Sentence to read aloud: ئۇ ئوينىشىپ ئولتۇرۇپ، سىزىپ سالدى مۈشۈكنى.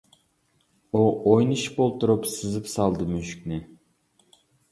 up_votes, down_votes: 2, 0